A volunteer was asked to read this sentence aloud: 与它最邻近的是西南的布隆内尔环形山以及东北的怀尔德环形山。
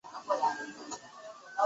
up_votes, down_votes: 1, 2